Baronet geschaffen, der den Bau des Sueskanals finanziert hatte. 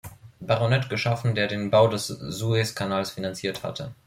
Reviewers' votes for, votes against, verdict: 1, 2, rejected